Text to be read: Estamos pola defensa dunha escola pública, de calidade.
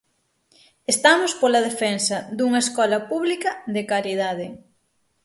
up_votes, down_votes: 6, 0